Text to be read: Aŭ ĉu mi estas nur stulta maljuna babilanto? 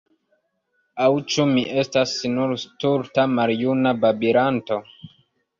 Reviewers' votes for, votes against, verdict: 1, 2, rejected